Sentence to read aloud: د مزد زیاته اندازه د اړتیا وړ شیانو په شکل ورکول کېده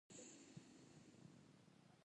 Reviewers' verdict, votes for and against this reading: rejected, 0, 2